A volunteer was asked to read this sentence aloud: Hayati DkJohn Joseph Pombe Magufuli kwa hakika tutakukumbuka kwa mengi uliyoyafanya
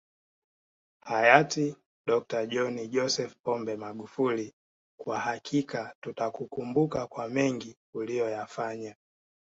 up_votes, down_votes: 2, 0